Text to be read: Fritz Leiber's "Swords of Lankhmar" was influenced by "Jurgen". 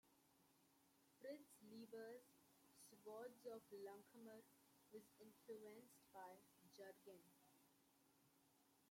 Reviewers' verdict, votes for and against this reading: rejected, 0, 2